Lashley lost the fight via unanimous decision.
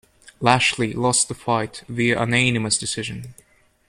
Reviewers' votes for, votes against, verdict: 0, 2, rejected